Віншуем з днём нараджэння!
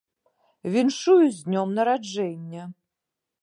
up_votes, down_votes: 1, 2